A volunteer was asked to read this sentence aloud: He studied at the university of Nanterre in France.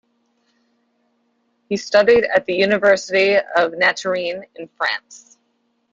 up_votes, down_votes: 0, 2